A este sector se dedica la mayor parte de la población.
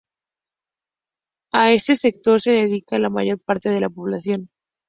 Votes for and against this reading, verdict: 0, 2, rejected